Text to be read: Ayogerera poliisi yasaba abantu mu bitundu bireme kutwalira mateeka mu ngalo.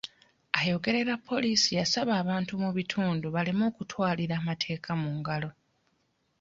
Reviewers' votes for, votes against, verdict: 0, 2, rejected